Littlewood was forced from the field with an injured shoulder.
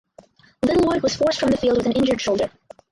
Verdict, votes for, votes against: rejected, 0, 4